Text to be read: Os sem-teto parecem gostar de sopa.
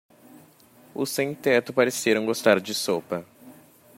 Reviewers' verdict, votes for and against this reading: rejected, 0, 2